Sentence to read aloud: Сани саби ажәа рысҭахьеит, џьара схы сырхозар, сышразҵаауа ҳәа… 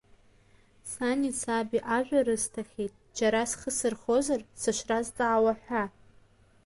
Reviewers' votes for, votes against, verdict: 1, 2, rejected